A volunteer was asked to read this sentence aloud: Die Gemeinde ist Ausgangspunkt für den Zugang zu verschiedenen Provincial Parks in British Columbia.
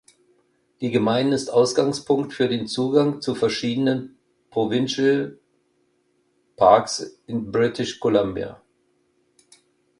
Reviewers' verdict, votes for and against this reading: accepted, 2, 1